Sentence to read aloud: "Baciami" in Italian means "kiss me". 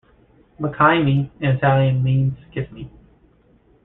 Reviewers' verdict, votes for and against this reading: rejected, 0, 2